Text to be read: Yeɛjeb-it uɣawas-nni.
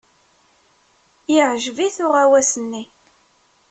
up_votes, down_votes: 2, 0